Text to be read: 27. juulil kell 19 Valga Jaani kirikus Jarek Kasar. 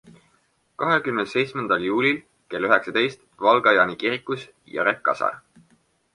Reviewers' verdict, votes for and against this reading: rejected, 0, 2